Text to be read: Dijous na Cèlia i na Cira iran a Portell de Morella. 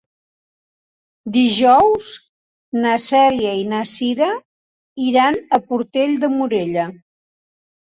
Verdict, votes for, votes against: accepted, 2, 0